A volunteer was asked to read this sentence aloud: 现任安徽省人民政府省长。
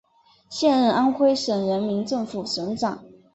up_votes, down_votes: 3, 0